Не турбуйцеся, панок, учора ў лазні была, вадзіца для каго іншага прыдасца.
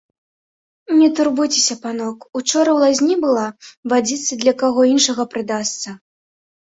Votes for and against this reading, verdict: 0, 2, rejected